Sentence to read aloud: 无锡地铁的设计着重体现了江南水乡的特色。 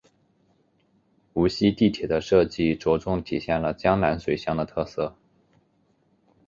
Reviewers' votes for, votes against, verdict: 2, 0, accepted